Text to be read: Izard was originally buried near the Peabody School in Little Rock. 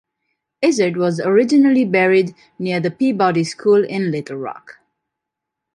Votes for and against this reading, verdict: 2, 0, accepted